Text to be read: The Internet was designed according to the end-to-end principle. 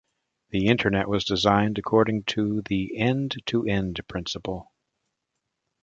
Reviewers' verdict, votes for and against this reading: accepted, 2, 0